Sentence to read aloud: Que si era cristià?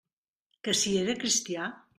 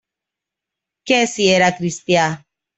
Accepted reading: first